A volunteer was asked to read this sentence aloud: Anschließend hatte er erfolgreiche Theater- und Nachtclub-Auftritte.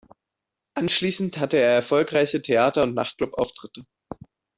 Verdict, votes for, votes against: accepted, 2, 0